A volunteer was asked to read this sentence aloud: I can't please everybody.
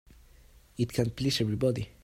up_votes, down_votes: 1, 2